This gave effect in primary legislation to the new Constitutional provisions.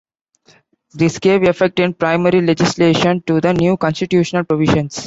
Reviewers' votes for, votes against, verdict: 0, 2, rejected